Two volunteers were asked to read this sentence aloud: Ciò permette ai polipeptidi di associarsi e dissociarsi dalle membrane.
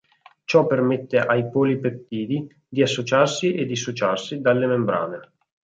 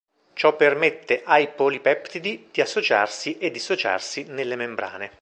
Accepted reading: first